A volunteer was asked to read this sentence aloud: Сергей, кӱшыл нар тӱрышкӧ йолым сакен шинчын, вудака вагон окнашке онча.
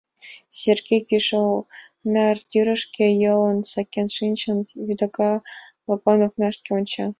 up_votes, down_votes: 2, 0